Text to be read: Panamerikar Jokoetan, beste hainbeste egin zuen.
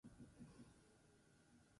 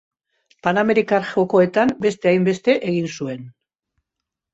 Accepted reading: second